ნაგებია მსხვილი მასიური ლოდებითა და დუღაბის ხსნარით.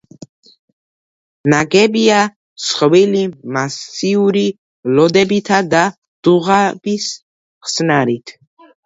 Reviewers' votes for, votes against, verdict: 1, 2, rejected